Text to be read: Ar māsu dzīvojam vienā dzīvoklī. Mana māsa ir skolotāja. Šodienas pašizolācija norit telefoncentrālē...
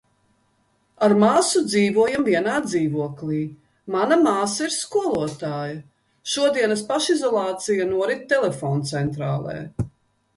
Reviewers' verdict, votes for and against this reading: accepted, 2, 0